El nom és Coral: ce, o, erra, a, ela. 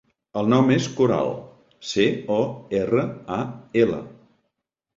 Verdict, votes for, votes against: accepted, 2, 0